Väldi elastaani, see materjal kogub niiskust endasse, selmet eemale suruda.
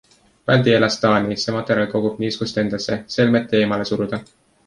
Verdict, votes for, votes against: accepted, 2, 0